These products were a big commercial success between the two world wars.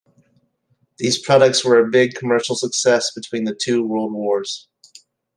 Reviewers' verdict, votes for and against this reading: accepted, 2, 0